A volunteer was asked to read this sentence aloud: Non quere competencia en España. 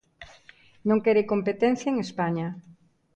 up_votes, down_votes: 2, 0